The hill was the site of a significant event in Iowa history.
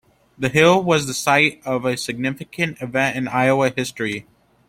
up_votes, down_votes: 2, 0